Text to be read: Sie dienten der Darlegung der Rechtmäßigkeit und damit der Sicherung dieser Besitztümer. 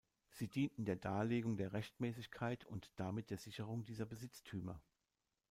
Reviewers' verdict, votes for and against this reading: rejected, 0, 2